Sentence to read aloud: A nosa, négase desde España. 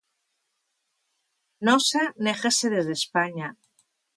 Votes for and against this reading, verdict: 0, 2, rejected